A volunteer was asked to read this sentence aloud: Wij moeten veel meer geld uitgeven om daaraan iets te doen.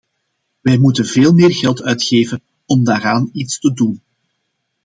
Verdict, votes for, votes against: accepted, 2, 0